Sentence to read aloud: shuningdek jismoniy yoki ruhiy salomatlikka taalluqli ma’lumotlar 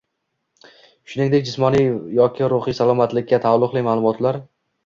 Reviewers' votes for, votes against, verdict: 2, 0, accepted